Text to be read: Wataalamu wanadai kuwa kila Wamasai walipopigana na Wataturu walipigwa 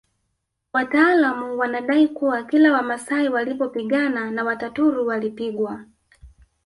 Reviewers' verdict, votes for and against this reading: rejected, 1, 2